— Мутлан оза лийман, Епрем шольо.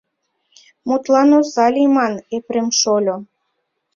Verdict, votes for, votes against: accepted, 2, 0